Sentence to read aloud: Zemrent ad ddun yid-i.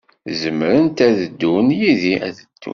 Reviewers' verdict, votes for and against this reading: rejected, 1, 2